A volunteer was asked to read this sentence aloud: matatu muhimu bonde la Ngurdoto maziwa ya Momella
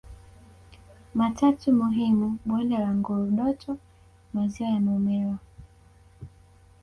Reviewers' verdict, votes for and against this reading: accepted, 2, 1